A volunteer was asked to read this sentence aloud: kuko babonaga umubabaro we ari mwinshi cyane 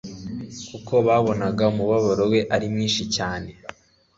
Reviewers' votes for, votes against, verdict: 2, 0, accepted